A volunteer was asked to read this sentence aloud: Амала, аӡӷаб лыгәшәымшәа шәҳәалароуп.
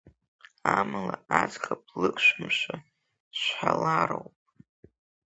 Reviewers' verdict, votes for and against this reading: rejected, 0, 4